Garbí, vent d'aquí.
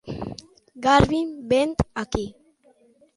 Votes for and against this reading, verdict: 1, 2, rejected